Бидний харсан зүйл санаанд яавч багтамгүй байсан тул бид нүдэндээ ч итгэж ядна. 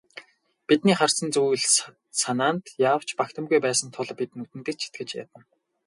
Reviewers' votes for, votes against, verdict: 4, 0, accepted